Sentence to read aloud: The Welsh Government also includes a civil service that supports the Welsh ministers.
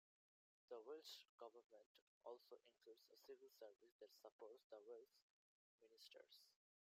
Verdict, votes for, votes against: accepted, 2, 1